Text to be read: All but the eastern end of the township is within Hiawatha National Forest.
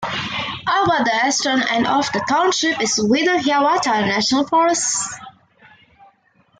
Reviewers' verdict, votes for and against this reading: rejected, 0, 2